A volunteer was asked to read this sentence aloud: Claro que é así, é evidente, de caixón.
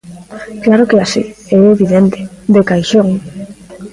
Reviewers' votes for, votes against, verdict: 2, 1, accepted